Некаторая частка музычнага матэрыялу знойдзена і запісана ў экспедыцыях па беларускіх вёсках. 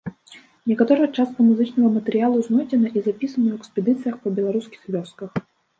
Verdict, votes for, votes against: rejected, 1, 2